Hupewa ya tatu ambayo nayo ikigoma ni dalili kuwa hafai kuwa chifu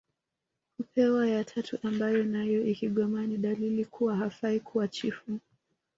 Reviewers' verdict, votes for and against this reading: rejected, 0, 2